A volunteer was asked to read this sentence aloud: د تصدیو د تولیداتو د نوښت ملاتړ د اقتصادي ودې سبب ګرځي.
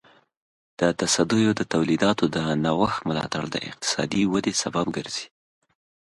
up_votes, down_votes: 2, 0